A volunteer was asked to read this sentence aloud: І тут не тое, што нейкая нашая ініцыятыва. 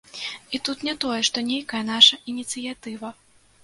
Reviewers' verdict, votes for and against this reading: rejected, 1, 2